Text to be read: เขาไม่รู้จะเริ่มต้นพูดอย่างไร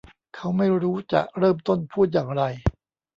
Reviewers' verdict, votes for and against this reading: rejected, 1, 2